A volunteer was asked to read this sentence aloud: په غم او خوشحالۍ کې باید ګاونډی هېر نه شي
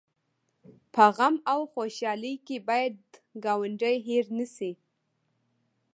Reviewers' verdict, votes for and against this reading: accepted, 2, 0